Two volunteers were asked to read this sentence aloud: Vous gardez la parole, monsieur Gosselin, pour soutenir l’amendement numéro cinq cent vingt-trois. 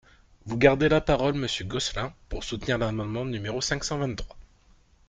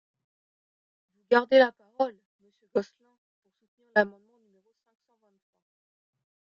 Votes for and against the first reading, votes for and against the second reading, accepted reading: 2, 0, 0, 2, first